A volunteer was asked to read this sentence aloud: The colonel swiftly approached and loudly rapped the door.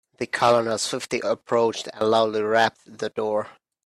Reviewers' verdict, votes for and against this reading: accepted, 2, 0